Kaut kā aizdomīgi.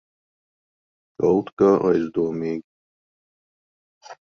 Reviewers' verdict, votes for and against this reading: rejected, 0, 2